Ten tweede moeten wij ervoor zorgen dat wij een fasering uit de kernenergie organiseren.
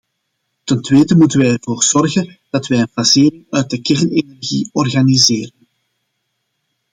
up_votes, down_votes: 2, 0